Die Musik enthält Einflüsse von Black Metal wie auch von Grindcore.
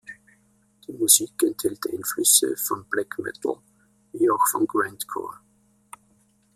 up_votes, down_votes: 1, 2